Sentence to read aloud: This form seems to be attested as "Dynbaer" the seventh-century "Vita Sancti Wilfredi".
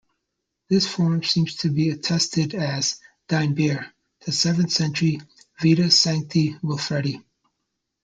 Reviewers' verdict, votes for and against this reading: rejected, 1, 2